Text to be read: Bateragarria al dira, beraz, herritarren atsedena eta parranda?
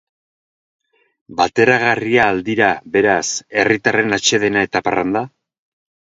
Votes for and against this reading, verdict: 2, 0, accepted